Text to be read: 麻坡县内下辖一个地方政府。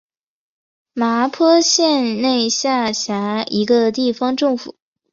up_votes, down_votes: 4, 0